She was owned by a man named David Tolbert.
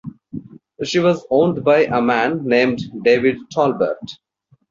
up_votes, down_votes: 2, 0